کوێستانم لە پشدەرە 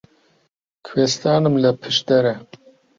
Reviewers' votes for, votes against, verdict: 2, 0, accepted